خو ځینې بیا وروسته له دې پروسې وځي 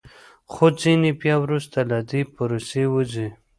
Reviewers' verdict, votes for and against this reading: accepted, 2, 0